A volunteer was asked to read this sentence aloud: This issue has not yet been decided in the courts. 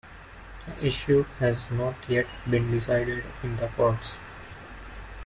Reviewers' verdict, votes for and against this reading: rejected, 0, 2